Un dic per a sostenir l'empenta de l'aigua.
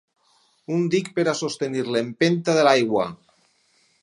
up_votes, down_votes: 6, 0